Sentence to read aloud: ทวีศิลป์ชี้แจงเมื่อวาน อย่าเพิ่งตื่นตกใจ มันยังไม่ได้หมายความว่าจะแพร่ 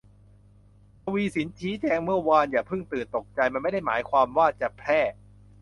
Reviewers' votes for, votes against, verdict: 0, 2, rejected